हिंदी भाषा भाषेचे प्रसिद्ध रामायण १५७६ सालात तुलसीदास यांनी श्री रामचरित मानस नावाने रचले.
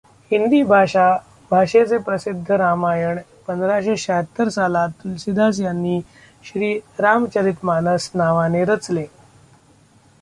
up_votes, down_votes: 0, 2